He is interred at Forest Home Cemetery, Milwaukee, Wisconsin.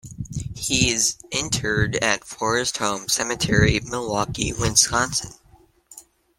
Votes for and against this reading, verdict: 2, 0, accepted